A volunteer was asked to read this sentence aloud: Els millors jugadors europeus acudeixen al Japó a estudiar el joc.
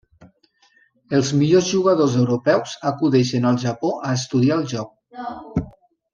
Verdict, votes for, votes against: accepted, 3, 0